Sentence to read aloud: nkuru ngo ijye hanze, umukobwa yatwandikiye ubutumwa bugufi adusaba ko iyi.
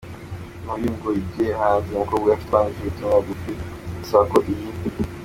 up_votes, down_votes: 0, 2